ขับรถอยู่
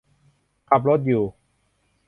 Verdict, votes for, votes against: accepted, 2, 0